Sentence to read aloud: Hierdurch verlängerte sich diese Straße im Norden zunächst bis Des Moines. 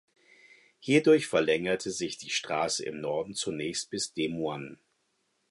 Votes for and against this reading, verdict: 2, 4, rejected